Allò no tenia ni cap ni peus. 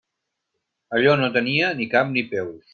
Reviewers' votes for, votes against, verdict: 3, 0, accepted